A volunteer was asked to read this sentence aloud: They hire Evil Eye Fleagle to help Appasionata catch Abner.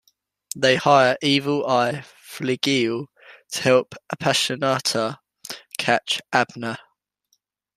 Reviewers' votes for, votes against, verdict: 2, 0, accepted